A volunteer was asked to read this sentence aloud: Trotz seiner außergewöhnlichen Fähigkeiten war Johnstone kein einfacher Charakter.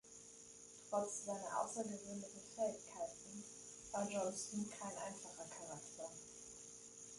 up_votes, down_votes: 1, 2